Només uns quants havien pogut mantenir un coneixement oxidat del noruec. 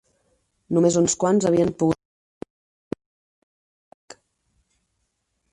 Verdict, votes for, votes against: rejected, 0, 4